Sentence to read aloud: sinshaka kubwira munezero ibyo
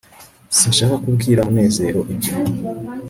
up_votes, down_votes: 2, 0